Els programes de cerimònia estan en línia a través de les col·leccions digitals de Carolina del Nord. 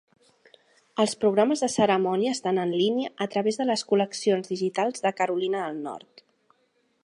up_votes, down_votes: 1, 2